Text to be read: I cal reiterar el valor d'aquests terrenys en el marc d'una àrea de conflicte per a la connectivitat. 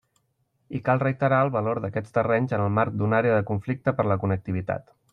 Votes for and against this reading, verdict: 2, 1, accepted